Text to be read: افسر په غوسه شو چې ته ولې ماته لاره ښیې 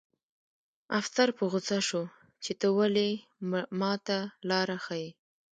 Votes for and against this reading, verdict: 2, 0, accepted